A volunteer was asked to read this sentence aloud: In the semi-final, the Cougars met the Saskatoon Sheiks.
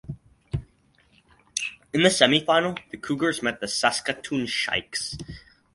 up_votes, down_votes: 0, 2